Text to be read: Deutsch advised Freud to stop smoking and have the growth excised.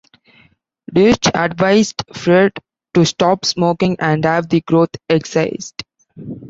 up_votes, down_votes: 1, 2